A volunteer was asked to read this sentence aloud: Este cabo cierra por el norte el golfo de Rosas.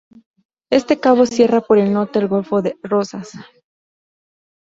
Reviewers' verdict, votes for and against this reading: accepted, 2, 0